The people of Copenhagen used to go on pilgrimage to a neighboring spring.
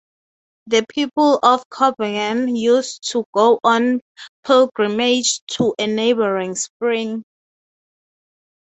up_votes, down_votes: 0, 3